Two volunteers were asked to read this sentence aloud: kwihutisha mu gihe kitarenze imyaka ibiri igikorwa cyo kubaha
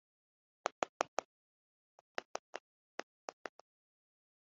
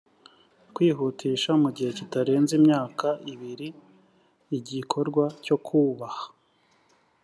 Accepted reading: second